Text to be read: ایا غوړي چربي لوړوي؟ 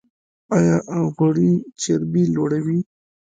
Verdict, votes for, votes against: rejected, 1, 2